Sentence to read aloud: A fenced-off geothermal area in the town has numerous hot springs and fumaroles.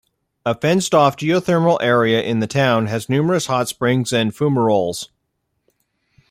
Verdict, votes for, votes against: accepted, 2, 0